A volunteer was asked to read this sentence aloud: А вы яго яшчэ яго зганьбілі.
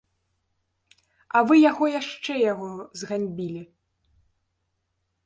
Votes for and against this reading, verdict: 0, 2, rejected